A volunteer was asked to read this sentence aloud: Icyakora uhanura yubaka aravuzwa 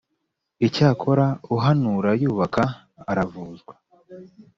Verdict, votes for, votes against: accepted, 2, 0